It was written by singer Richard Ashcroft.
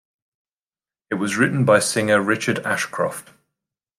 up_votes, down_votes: 2, 0